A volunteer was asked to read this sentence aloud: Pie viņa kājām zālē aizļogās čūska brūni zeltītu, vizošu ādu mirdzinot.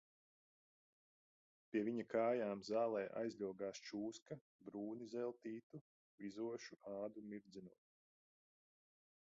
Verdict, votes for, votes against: accepted, 2, 1